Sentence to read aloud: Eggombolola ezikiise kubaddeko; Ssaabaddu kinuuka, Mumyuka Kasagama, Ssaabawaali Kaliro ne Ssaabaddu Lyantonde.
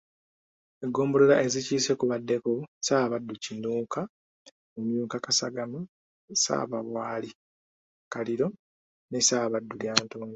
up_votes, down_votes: 2, 0